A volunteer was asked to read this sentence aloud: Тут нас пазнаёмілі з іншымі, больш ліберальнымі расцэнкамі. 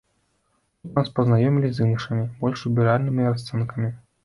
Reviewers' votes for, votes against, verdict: 1, 2, rejected